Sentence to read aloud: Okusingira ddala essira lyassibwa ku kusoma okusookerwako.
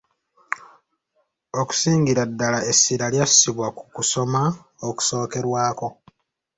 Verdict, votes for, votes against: accepted, 2, 0